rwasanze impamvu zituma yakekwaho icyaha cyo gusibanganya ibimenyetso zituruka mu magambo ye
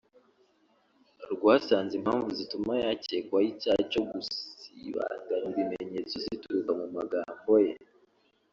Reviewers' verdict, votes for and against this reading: rejected, 0, 2